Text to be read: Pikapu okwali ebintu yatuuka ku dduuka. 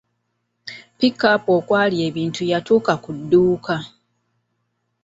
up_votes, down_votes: 2, 1